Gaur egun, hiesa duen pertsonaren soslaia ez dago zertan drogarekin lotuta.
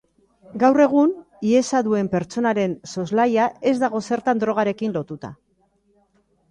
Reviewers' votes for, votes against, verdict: 2, 0, accepted